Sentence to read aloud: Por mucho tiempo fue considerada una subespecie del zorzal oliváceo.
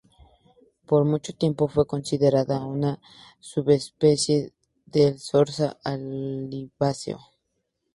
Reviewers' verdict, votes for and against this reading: accepted, 4, 0